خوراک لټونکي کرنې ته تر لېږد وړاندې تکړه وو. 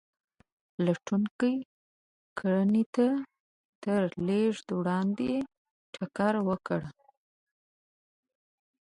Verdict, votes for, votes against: rejected, 1, 2